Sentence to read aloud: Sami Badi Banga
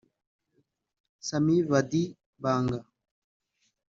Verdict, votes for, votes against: rejected, 1, 2